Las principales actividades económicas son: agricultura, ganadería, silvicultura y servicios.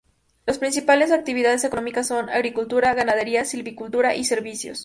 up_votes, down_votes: 2, 0